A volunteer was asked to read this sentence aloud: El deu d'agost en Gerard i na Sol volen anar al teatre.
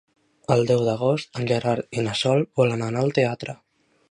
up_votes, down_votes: 2, 1